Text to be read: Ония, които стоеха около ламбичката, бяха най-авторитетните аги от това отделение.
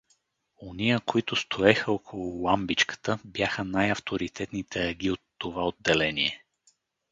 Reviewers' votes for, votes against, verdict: 2, 2, rejected